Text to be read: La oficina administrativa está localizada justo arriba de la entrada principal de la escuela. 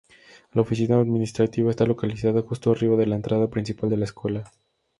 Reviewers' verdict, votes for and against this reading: rejected, 0, 2